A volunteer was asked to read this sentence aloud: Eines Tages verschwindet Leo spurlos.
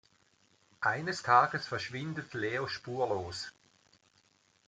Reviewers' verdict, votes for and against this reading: accepted, 2, 0